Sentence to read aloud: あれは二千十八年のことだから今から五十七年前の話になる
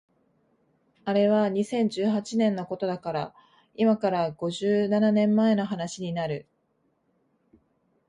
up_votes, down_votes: 2, 0